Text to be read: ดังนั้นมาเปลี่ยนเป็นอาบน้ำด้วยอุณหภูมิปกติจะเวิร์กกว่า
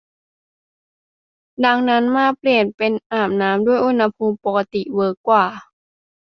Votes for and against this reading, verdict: 0, 2, rejected